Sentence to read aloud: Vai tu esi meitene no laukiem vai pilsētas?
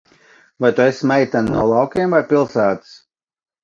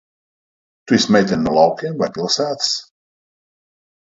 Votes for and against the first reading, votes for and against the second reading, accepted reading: 2, 0, 0, 2, first